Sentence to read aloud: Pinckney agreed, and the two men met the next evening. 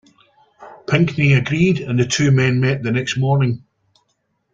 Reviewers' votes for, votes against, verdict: 0, 2, rejected